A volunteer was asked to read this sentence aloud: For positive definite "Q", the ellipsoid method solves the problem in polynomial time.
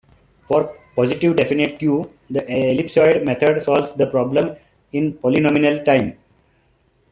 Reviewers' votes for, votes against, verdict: 2, 0, accepted